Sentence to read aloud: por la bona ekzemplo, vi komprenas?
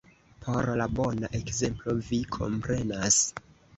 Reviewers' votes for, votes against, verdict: 2, 0, accepted